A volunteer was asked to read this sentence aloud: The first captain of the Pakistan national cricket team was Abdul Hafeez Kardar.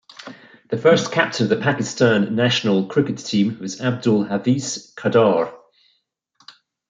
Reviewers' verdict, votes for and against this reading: accepted, 2, 0